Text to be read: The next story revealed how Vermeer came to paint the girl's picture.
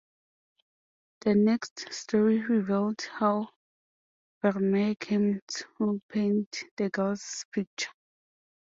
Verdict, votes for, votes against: accepted, 2, 0